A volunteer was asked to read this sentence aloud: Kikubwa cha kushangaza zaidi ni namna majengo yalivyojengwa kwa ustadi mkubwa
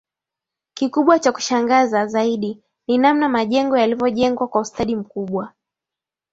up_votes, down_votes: 6, 0